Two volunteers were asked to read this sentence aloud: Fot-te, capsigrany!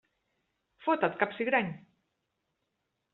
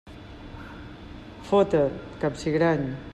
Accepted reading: second